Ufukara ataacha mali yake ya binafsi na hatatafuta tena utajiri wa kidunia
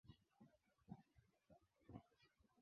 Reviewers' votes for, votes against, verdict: 2, 10, rejected